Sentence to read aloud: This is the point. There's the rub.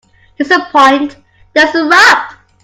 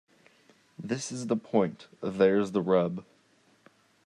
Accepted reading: second